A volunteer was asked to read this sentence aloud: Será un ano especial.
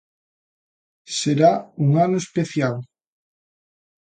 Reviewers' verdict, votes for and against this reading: accepted, 2, 0